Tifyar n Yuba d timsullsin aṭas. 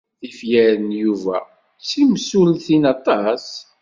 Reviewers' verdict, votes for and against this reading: rejected, 1, 2